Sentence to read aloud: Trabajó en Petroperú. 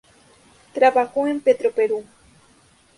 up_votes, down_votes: 2, 0